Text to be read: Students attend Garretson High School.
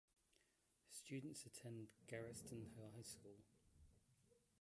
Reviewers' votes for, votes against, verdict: 1, 2, rejected